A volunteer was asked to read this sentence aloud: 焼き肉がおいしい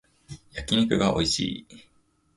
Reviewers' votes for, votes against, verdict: 2, 0, accepted